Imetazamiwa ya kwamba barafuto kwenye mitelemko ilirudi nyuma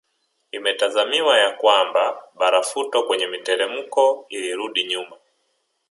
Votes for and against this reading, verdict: 2, 0, accepted